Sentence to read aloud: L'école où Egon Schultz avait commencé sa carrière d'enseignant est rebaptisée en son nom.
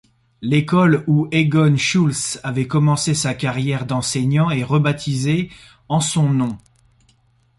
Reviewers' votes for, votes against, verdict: 2, 0, accepted